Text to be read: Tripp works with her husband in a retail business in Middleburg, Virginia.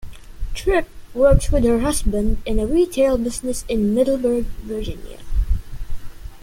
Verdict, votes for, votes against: accepted, 2, 0